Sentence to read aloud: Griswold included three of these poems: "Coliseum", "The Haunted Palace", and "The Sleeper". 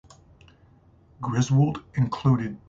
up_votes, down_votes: 0, 3